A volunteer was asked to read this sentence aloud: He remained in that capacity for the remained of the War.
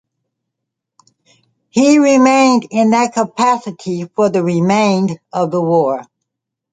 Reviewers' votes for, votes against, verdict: 2, 0, accepted